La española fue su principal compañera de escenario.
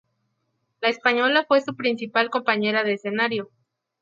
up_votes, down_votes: 2, 0